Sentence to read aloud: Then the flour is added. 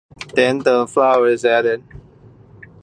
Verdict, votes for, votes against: accepted, 2, 1